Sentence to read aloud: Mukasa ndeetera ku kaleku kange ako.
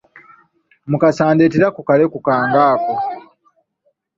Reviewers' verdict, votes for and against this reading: accepted, 2, 0